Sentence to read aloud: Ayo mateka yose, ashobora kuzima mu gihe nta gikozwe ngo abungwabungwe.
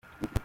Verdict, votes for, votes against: rejected, 0, 2